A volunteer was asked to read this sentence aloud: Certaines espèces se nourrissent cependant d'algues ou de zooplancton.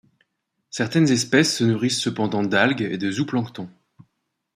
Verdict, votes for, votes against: rejected, 1, 2